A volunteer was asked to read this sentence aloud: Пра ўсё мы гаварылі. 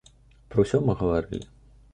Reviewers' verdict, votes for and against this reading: accepted, 2, 0